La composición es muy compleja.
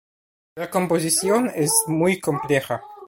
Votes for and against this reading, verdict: 2, 1, accepted